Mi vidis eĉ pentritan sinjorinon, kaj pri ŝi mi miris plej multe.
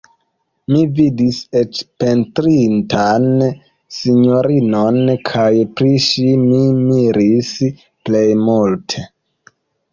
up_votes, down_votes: 0, 2